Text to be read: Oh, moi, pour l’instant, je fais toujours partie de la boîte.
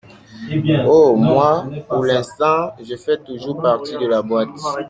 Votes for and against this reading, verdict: 2, 1, accepted